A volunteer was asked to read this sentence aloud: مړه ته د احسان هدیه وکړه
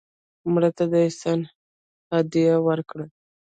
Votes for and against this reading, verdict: 0, 2, rejected